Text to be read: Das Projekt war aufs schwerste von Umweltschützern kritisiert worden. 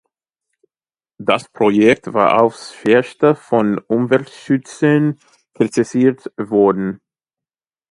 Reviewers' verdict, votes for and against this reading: accepted, 2, 0